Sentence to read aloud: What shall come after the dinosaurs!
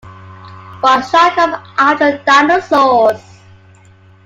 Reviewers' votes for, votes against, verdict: 2, 1, accepted